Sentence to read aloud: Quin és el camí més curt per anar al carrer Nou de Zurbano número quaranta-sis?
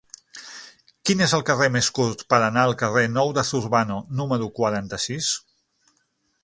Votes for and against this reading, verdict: 0, 6, rejected